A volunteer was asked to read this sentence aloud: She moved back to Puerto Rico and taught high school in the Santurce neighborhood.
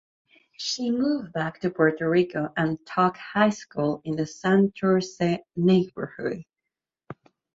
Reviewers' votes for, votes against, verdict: 2, 0, accepted